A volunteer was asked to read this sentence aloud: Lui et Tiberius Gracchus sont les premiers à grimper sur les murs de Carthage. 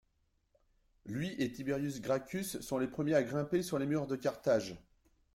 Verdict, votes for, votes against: accepted, 2, 0